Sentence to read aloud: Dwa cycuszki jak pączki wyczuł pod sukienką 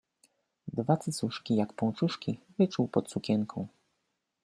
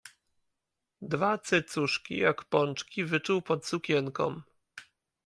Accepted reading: second